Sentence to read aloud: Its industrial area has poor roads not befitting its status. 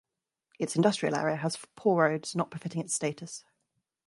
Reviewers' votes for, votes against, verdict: 0, 2, rejected